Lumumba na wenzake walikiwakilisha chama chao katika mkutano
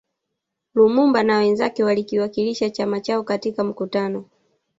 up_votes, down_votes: 2, 0